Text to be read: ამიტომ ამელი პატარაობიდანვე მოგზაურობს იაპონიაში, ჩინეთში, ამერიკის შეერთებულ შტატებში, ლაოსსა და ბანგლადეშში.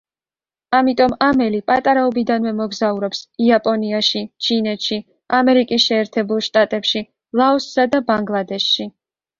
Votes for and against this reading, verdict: 2, 0, accepted